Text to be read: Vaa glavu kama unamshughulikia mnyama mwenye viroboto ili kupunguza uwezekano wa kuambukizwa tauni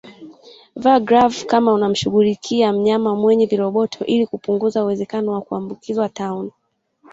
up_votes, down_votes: 2, 0